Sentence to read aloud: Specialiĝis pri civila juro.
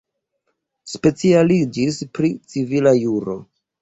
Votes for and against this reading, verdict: 2, 0, accepted